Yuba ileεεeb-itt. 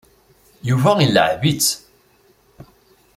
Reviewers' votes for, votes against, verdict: 3, 0, accepted